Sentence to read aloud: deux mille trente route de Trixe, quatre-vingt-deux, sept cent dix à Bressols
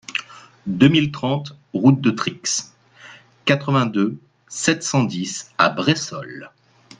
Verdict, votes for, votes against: accepted, 2, 0